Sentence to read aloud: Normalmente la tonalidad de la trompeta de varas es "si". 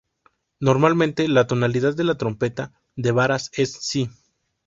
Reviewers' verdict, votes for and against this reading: accepted, 2, 0